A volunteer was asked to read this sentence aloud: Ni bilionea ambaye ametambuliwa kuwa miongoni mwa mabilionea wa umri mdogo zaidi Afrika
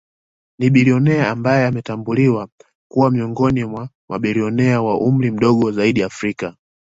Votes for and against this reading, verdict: 2, 0, accepted